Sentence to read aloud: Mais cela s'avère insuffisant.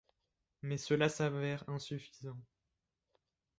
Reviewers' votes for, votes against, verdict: 1, 2, rejected